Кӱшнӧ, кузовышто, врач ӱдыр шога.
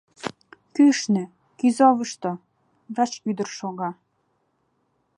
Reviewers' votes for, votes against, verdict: 0, 2, rejected